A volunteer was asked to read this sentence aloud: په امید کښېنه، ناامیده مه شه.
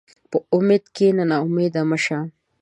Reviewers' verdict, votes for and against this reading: accepted, 2, 0